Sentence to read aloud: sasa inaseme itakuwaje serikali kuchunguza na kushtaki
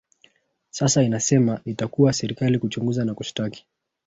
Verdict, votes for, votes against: rejected, 0, 2